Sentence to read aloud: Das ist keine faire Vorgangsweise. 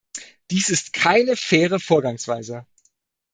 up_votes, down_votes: 1, 2